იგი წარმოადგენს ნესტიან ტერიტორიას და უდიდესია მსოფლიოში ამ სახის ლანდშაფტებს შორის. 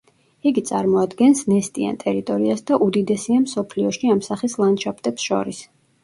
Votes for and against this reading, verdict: 0, 2, rejected